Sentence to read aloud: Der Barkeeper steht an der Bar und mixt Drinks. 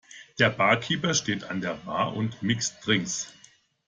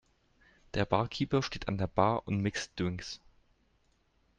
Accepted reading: first